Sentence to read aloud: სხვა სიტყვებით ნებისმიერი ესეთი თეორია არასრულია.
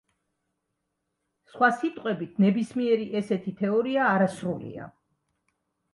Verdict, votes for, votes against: accepted, 2, 0